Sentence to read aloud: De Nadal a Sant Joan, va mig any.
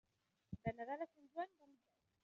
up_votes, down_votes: 0, 2